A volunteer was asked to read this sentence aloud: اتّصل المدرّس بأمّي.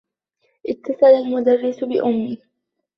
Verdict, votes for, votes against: accepted, 2, 0